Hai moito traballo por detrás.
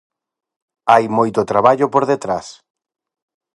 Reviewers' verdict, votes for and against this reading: accepted, 4, 0